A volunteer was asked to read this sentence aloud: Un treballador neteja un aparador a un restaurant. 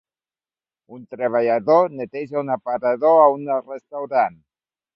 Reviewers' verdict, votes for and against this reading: rejected, 0, 3